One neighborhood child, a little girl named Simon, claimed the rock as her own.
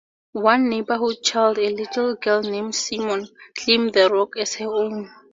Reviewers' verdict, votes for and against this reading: accepted, 2, 0